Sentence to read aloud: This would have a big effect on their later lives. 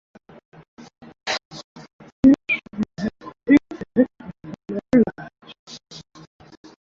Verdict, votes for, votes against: rejected, 0, 2